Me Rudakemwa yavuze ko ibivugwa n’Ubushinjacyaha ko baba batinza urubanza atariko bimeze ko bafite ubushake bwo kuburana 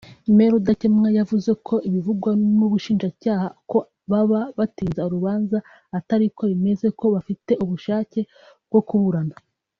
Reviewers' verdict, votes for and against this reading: accepted, 2, 0